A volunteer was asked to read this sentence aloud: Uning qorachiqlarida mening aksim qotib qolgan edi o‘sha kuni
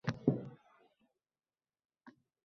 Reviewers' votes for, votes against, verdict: 0, 2, rejected